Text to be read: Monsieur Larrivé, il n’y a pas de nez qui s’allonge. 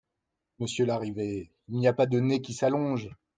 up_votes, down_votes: 2, 0